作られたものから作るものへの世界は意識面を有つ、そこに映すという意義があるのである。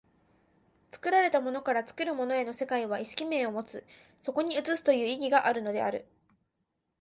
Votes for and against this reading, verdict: 2, 0, accepted